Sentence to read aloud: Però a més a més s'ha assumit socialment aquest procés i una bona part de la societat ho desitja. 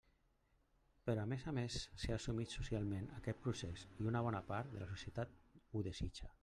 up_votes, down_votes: 0, 2